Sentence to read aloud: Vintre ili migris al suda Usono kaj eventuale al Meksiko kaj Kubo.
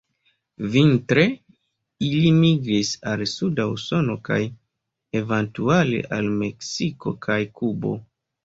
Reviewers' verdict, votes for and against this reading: rejected, 0, 2